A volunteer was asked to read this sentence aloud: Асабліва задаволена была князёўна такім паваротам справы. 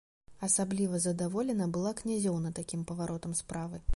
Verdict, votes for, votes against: accepted, 2, 0